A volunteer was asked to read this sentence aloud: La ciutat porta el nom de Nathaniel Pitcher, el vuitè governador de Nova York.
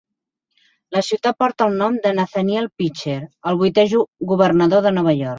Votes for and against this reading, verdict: 1, 2, rejected